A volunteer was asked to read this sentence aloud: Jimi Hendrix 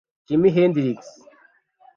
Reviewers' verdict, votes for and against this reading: rejected, 1, 2